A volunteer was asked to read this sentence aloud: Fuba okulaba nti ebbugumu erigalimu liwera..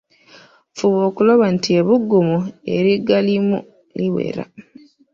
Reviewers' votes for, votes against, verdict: 0, 2, rejected